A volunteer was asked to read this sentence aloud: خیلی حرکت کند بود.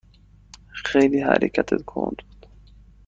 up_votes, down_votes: 1, 2